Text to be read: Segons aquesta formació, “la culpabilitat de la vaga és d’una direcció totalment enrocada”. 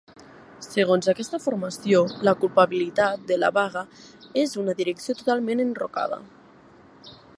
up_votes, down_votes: 1, 2